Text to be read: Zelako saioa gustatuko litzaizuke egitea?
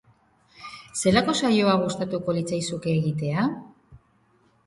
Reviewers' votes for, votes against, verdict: 3, 0, accepted